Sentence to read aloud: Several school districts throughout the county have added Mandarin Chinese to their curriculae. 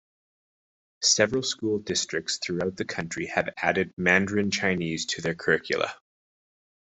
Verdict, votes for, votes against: accepted, 2, 0